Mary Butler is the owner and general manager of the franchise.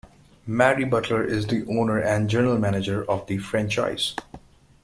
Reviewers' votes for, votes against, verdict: 2, 0, accepted